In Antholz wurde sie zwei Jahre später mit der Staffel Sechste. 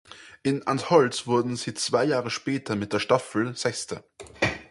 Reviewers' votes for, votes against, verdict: 0, 4, rejected